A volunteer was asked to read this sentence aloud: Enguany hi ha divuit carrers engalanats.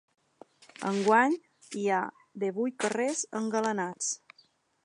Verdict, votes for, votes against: accepted, 3, 0